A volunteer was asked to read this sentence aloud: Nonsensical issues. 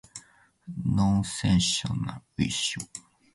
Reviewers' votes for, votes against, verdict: 2, 0, accepted